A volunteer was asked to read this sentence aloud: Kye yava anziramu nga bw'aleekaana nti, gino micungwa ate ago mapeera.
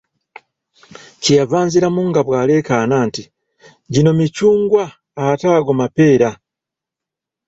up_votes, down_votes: 2, 0